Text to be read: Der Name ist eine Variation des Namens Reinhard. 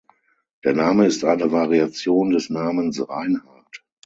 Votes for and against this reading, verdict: 0, 6, rejected